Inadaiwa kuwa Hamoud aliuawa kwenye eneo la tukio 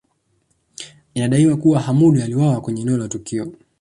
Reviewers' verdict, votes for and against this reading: accepted, 2, 0